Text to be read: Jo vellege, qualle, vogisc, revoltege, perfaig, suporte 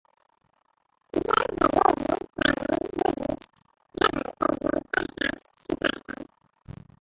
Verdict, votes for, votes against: rejected, 0, 2